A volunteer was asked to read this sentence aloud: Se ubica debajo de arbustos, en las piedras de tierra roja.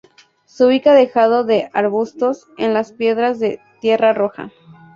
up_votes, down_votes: 0, 2